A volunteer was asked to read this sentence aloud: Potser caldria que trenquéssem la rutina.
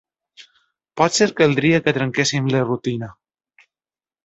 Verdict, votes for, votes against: accepted, 2, 0